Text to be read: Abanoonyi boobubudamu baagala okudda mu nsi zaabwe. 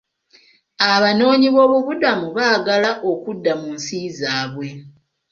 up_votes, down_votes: 2, 0